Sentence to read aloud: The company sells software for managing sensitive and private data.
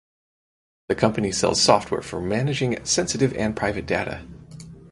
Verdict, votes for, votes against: accepted, 4, 0